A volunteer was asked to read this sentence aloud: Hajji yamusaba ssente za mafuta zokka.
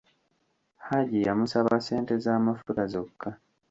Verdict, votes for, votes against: rejected, 0, 2